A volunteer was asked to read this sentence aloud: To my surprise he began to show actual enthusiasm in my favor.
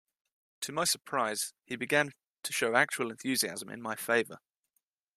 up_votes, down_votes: 2, 0